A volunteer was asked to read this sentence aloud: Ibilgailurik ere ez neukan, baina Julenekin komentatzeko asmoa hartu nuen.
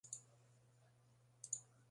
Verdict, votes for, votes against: rejected, 1, 2